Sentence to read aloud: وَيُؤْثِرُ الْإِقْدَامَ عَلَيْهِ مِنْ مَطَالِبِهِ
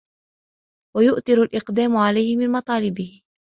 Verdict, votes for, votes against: rejected, 1, 2